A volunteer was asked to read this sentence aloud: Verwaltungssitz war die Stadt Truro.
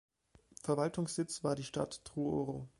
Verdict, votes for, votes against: rejected, 1, 2